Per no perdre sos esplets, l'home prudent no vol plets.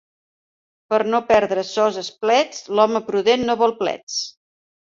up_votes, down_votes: 2, 0